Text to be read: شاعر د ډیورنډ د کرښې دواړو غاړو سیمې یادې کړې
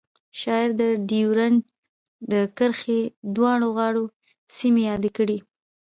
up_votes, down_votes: 2, 0